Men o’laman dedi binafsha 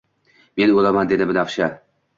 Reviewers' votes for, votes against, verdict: 2, 0, accepted